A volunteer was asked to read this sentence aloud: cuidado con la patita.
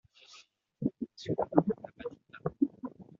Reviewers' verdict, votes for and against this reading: rejected, 1, 2